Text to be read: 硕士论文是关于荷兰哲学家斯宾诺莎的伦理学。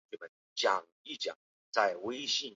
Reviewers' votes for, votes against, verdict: 0, 2, rejected